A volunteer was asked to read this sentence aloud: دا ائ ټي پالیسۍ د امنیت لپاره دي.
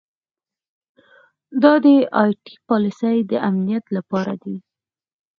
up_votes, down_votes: 4, 0